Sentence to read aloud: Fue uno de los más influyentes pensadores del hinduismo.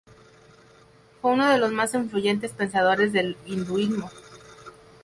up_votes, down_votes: 0, 2